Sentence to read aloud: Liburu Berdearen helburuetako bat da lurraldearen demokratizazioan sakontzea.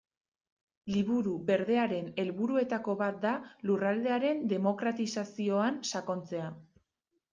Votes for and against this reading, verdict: 2, 0, accepted